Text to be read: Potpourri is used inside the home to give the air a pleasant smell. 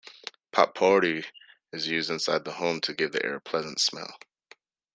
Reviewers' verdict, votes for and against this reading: rejected, 1, 2